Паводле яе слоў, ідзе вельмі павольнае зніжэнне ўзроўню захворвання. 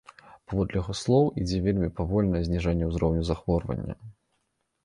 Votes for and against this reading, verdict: 2, 0, accepted